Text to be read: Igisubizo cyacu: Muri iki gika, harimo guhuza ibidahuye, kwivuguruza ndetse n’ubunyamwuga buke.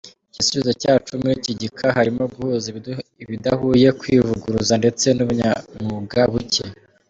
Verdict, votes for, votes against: accepted, 2, 0